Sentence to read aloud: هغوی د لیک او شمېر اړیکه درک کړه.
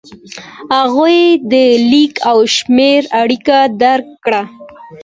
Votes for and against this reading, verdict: 2, 0, accepted